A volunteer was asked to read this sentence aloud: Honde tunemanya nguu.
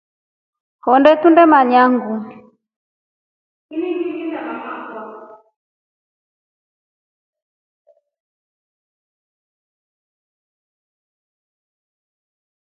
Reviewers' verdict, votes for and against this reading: accepted, 2, 0